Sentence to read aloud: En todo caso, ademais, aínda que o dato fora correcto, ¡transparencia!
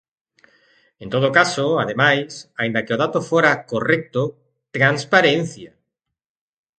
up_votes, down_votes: 2, 0